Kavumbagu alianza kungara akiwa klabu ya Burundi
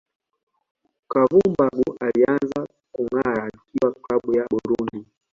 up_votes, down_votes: 1, 2